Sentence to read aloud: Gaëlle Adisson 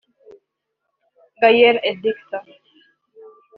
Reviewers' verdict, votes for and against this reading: accepted, 2, 0